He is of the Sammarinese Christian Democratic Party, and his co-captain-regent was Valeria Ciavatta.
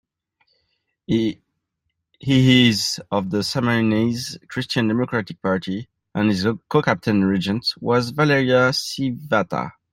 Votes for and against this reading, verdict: 0, 2, rejected